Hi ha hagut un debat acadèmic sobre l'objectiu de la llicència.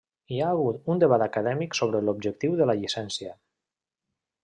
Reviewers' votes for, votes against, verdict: 1, 2, rejected